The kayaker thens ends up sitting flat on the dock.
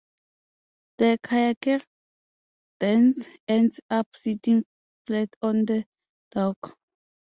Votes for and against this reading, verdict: 0, 2, rejected